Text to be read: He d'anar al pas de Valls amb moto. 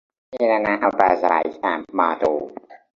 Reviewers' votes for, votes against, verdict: 0, 2, rejected